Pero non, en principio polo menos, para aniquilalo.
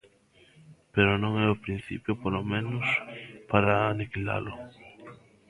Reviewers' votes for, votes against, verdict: 0, 2, rejected